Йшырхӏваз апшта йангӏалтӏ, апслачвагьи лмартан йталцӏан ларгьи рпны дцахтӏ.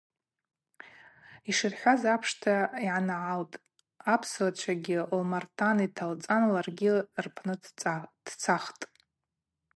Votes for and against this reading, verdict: 2, 2, rejected